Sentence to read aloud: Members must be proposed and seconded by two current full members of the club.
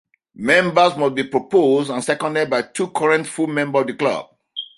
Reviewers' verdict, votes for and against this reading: rejected, 1, 2